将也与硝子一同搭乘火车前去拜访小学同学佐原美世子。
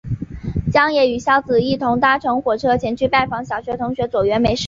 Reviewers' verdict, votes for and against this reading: accepted, 3, 1